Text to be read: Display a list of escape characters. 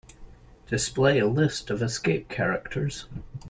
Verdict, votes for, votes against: accepted, 2, 0